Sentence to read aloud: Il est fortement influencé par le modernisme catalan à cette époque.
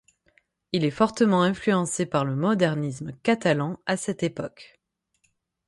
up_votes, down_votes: 6, 0